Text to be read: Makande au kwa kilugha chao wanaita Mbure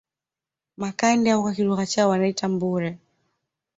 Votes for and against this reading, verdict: 1, 2, rejected